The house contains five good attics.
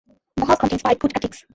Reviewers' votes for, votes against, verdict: 0, 2, rejected